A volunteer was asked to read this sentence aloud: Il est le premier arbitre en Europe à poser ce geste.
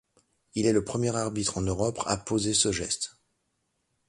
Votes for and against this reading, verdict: 1, 2, rejected